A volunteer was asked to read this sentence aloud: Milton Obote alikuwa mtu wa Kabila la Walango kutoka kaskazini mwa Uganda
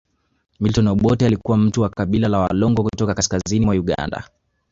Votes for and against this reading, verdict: 2, 1, accepted